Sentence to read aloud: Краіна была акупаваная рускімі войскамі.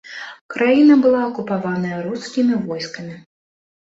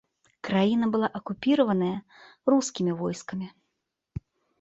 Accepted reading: first